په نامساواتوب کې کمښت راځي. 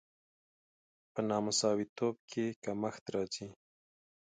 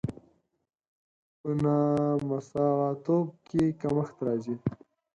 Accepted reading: first